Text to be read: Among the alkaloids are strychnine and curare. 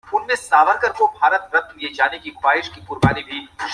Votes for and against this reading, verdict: 0, 2, rejected